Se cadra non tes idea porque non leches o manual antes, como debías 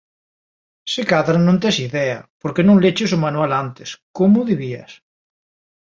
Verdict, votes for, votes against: accepted, 2, 0